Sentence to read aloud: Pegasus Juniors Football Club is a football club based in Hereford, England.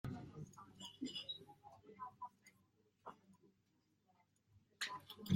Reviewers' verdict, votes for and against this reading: rejected, 0, 2